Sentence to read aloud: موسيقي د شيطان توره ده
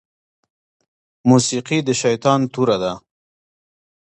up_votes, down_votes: 1, 2